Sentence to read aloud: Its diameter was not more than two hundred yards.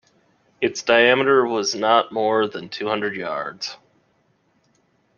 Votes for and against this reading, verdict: 2, 0, accepted